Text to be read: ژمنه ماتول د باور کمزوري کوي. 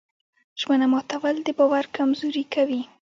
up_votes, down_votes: 1, 2